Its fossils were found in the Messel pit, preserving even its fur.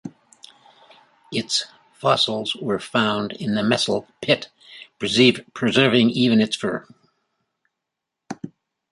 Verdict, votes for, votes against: rejected, 0, 2